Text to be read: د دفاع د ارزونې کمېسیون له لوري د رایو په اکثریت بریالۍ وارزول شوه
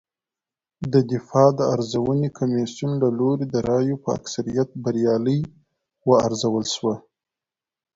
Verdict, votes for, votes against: accepted, 2, 0